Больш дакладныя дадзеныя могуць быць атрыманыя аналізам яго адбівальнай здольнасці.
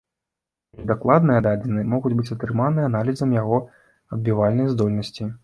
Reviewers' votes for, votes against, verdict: 1, 2, rejected